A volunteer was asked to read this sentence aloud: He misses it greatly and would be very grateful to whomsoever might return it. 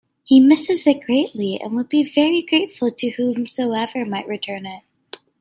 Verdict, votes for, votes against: accepted, 2, 0